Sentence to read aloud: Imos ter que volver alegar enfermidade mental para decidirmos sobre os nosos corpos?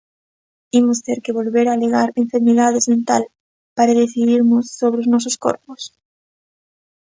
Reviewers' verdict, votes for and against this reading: rejected, 0, 2